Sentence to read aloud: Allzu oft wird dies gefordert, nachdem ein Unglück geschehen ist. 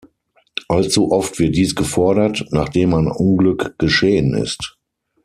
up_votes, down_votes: 6, 0